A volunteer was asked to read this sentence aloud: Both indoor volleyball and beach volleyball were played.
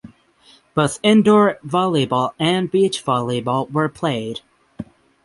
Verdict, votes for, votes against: accepted, 6, 0